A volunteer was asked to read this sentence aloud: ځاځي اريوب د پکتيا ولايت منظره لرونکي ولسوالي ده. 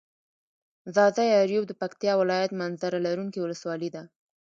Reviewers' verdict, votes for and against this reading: accepted, 2, 1